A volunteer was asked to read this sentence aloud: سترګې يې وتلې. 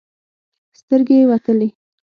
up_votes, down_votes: 6, 0